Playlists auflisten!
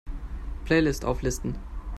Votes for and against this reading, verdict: 0, 2, rejected